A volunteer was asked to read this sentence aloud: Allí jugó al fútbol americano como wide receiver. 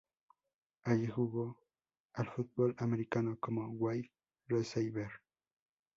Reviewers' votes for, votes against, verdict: 0, 2, rejected